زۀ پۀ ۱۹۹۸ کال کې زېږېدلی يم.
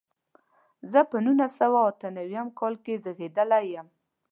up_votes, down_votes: 0, 2